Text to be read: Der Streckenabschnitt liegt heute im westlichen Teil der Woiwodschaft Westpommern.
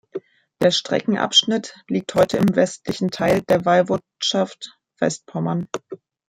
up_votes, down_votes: 2, 1